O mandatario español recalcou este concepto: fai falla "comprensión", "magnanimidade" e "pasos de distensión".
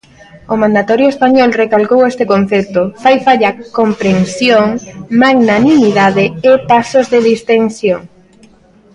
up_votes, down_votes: 1, 2